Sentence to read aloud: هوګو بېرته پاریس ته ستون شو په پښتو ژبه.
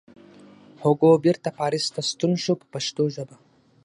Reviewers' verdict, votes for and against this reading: accepted, 6, 0